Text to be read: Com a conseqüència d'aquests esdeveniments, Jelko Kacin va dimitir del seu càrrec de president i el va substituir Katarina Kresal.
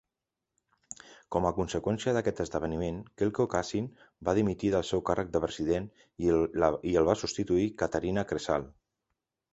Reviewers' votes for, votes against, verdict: 1, 2, rejected